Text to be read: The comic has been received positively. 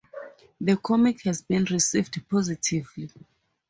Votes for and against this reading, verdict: 4, 0, accepted